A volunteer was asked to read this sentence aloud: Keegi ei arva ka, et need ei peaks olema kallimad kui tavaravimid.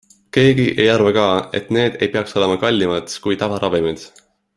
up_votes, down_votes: 2, 0